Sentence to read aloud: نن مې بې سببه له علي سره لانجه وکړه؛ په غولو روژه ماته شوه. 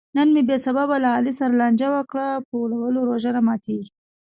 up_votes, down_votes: 0, 2